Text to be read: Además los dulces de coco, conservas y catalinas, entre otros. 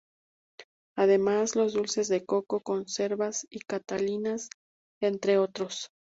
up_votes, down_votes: 2, 0